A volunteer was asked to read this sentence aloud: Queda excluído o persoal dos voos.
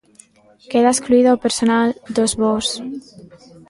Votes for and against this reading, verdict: 1, 2, rejected